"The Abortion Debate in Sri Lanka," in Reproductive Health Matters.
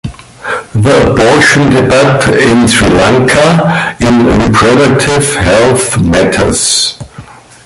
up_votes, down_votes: 3, 1